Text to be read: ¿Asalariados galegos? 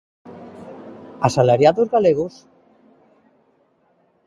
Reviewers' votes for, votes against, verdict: 2, 0, accepted